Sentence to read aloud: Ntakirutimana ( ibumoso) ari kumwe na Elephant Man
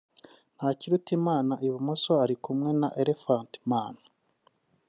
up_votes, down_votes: 0, 2